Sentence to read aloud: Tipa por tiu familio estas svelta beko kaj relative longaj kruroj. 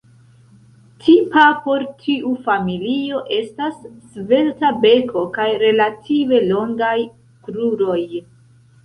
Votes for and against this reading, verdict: 2, 1, accepted